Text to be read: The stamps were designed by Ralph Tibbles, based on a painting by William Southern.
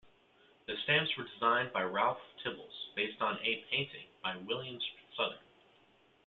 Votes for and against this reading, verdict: 0, 2, rejected